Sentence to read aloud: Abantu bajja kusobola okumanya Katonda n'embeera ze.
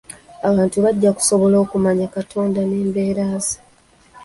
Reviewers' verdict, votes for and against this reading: accepted, 2, 0